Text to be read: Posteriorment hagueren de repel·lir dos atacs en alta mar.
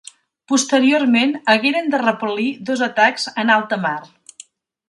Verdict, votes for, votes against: accepted, 2, 0